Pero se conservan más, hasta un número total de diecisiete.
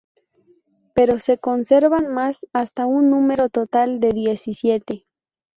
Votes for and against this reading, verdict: 4, 0, accepted